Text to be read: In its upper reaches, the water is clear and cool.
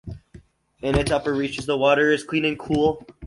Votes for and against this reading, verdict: 0, 4, rejected